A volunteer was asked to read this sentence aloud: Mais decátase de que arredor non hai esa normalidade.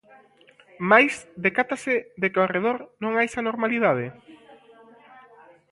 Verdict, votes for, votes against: rejected, 1, 2